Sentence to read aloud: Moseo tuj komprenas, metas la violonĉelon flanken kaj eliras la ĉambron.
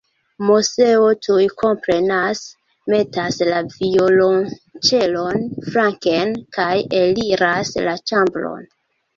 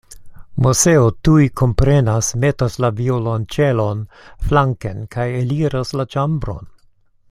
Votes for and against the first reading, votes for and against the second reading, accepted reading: 1, 2, 2, 0, second